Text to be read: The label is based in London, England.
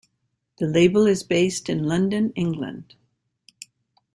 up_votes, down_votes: 2, 0